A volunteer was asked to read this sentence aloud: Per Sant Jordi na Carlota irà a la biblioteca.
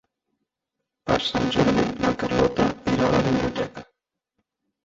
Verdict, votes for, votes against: rejected, 1, 2